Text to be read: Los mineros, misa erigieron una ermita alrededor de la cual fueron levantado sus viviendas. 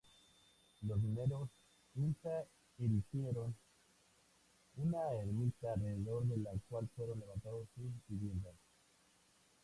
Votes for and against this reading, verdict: 0, 2, rejected